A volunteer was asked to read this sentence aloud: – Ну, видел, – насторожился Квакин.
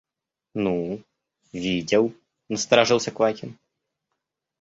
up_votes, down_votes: 2, 0